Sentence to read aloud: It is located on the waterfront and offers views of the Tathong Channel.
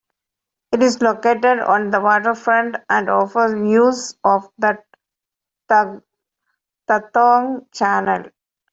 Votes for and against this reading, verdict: 0, 2, rejected